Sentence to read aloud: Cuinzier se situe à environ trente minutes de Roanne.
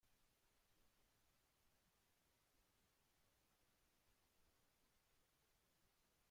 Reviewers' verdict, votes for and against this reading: rejected, 1, 2